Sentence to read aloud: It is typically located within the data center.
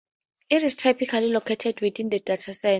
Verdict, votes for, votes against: rejected, 2, 4